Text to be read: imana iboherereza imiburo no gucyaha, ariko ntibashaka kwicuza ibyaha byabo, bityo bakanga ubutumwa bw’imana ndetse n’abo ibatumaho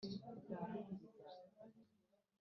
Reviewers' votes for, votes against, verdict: 0, 2, rejected